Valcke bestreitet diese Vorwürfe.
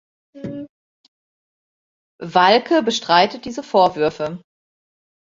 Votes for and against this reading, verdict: 0, 2, rejected